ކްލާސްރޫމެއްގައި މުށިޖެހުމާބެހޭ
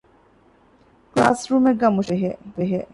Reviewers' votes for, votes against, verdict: 0, 2, rejected